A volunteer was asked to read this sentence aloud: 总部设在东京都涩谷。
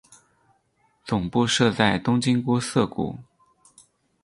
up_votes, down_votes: 2, 2